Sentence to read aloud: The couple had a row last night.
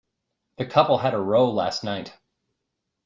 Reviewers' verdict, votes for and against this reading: accepted, 2, 0